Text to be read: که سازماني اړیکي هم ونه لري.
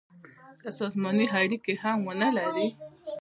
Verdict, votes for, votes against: accepted, 2, 0